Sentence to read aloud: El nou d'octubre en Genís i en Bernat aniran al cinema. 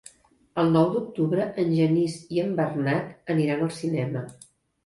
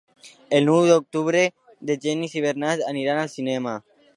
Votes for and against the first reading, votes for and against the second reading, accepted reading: 2, 0, 0, 2, first